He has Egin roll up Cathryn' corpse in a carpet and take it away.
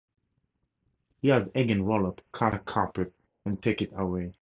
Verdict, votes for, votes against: rejected, 0, 2